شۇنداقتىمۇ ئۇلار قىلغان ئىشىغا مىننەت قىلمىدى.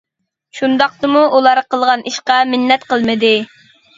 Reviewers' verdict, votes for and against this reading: rejected, 0, 2